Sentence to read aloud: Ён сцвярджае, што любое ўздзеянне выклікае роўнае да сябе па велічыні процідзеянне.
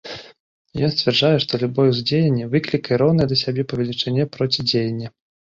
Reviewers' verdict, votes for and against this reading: rejected, 1, 2